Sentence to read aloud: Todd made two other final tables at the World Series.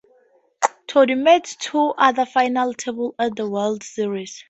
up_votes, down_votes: 2, 0